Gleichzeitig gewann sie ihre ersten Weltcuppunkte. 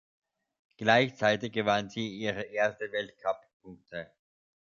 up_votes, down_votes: 1, 2